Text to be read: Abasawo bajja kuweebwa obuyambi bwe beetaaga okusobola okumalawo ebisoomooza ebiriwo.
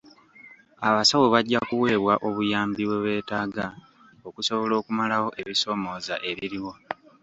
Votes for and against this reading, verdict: 2, 0, accepted